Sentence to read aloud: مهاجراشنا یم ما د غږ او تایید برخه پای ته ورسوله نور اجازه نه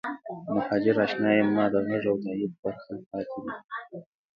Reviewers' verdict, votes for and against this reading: rejected, 1, 2